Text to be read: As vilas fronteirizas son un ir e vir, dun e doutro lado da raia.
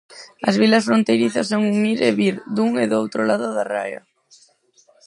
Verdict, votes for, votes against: rejected, 0, 4